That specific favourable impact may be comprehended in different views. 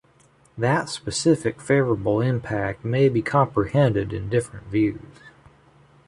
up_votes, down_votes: 2, 0